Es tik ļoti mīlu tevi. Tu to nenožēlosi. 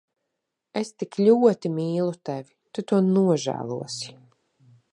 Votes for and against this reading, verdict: 1, 2, rejected